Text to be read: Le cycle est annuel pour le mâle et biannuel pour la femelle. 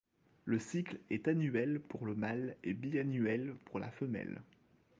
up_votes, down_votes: 1, 2